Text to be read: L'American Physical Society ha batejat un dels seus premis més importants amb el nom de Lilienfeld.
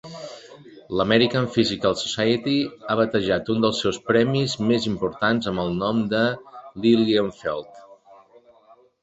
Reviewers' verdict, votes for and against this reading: accepted, 2, 0